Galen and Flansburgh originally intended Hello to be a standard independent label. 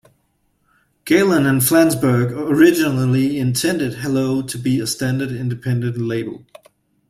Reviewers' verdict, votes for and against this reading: accepted, 2, 0